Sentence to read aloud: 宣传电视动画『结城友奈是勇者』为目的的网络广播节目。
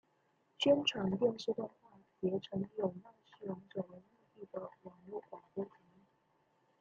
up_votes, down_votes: 0, 2